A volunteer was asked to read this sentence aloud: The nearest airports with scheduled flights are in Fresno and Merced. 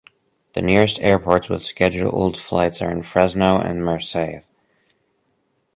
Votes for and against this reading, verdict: 2, 2, rejected